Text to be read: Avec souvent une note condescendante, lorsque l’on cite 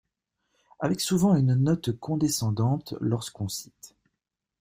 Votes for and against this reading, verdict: 0, 2, rejected